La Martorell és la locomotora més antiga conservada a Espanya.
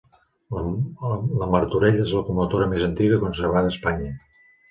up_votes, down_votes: 0, 2